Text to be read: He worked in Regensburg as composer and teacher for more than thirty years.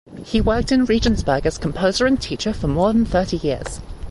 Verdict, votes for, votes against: rejected, 1, 2